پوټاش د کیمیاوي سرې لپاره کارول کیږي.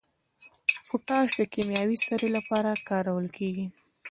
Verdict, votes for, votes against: accepted, 2, 1